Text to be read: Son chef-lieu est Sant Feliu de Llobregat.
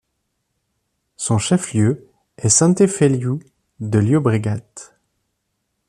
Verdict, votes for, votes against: rejected, 1, 2